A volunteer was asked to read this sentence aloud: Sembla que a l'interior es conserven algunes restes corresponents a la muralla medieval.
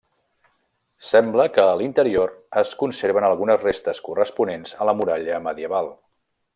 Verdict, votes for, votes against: rejected, 0, 2